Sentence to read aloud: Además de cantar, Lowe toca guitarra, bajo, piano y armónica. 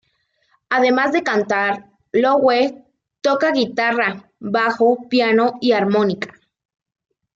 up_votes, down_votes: 2, 0